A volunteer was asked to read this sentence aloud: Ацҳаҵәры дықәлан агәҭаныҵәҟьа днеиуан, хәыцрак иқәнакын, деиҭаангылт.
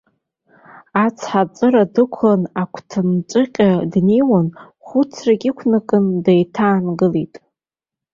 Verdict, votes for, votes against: rejected, 0, 2